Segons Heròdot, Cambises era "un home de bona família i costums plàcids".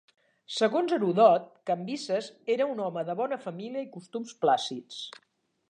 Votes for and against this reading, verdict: 3, 1, accepted